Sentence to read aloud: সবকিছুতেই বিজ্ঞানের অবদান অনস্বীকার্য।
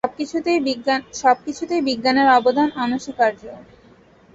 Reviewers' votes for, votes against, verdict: 0, 2, rejected